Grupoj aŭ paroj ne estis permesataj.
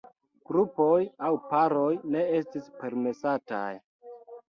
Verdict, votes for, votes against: accepted, 2, 0